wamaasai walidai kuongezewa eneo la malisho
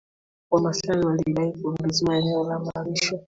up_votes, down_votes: 3, 0